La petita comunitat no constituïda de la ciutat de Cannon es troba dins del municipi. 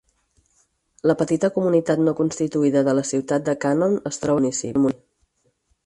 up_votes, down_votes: 0, 4